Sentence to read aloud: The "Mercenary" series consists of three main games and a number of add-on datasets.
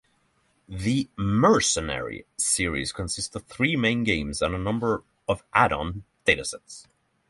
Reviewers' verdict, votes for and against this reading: accepted, 3, 0